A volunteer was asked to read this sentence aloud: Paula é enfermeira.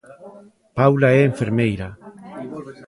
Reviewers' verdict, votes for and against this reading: rejected, 1, 2